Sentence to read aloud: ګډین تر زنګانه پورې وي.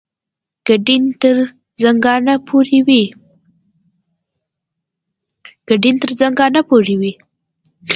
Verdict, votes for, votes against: rejected, 1, 2